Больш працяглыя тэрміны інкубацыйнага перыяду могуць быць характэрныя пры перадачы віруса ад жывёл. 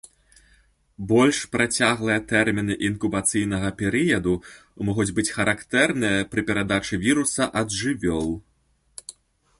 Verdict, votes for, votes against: accepted, 2, 0